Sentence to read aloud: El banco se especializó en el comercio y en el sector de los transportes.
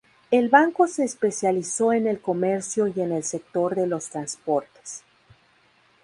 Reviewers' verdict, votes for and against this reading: accepted, 2, 0